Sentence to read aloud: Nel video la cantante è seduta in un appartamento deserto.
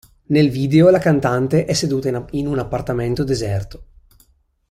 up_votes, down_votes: 1, 2